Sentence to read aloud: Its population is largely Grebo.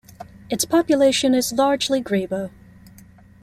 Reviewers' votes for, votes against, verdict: 2, 0, accepted